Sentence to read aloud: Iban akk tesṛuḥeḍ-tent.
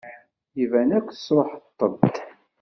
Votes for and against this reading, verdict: 2, 0, accepted